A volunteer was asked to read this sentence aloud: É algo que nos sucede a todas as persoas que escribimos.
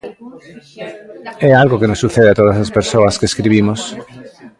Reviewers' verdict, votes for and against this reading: rejected, 0, 2